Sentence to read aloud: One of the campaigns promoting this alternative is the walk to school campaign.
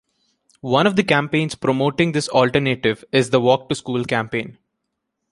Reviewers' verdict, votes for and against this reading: accepted, 2, 0